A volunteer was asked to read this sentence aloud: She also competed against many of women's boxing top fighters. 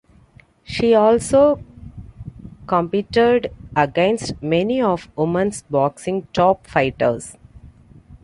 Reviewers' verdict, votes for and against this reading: rejected, 1, 2